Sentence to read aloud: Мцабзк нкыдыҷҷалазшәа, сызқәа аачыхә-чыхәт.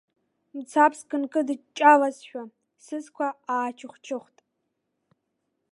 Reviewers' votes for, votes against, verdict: 3, 0, accepted